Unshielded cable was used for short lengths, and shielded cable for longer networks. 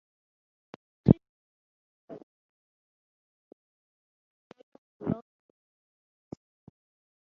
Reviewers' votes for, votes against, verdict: 0, 3, rejected